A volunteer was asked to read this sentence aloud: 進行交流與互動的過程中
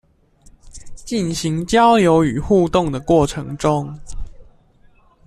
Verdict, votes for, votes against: rejected, 1, 2